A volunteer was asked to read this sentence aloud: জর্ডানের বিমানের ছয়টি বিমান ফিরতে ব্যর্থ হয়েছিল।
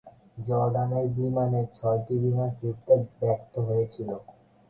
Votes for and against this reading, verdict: 16, 8, accepted